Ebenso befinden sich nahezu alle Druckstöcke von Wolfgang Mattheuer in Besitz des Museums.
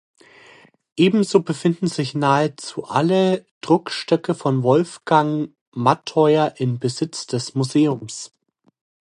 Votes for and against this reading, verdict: 2, 0, accepted